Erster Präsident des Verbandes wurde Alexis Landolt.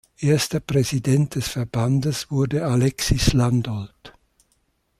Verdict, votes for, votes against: accepted, 2, 0